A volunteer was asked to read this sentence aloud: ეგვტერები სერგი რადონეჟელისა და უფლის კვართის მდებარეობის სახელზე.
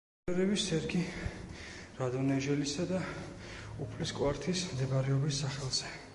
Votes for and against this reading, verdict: 1, 2, rejected